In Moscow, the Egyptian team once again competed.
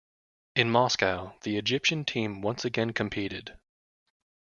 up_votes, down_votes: 2, 0